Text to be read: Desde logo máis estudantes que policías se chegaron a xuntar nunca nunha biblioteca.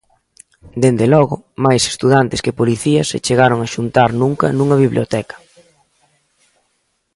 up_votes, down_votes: 2, 1